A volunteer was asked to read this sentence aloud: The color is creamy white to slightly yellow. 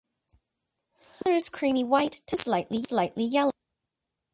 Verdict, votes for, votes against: rejected, 0, 2